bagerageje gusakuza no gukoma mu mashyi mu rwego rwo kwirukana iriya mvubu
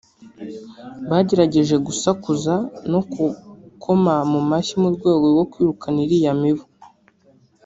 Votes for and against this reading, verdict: 0, 2, rejected